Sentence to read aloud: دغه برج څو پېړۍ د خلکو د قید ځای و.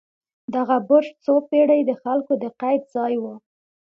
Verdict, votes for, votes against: accepted, 2, 0